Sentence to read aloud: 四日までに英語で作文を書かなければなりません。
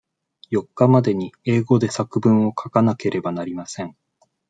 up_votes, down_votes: 2, 0